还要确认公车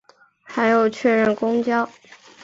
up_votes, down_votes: 0, 2